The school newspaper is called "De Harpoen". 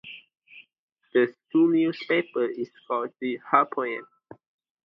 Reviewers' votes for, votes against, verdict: 2, 0, accepted